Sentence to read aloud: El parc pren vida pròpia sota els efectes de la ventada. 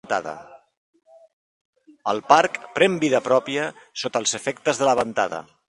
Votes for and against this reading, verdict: 0, 2, rejected